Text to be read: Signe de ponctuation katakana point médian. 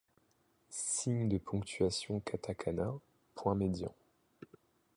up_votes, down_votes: 2, 0